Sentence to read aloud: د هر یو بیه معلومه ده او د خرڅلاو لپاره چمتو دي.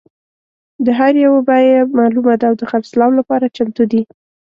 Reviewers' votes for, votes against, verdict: 2, 0, accepted